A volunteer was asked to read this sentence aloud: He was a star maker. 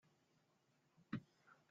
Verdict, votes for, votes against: rejected, 0, 2